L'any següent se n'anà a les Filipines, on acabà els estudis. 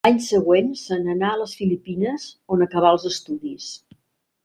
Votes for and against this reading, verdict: 1, 2, rejected